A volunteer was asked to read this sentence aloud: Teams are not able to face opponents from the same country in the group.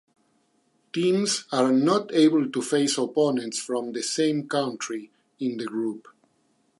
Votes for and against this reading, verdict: 2, 0, accepted